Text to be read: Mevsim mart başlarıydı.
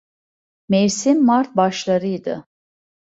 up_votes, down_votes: 2, 0